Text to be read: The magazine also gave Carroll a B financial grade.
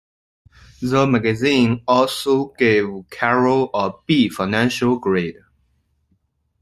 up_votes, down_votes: 2, 1